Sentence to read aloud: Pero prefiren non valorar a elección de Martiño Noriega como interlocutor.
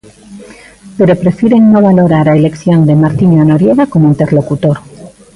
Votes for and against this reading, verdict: 0, 2, rejected